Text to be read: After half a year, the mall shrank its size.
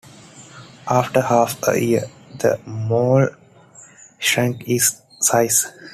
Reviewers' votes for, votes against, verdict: 2, 0, accepted